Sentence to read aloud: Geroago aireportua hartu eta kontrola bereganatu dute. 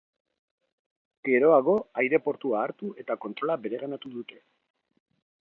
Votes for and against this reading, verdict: 2, 0, accepted